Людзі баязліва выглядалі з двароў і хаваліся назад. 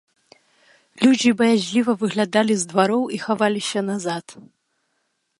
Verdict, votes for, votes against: rejected, 1, 2